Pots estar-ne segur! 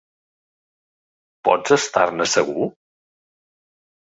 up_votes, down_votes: 1, 2